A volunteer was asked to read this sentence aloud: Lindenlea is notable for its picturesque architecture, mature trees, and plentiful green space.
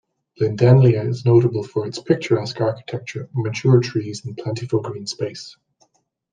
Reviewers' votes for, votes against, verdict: 2, 0, accepted